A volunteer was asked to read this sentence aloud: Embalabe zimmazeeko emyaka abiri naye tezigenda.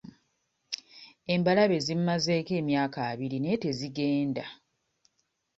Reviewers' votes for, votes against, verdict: 2, 0, accepted